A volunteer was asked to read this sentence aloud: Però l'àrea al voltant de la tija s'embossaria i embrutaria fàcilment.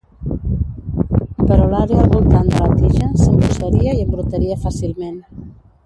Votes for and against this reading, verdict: 0, 2, rejected